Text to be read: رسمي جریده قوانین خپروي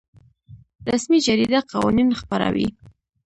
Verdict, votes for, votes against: rejected, 1, 2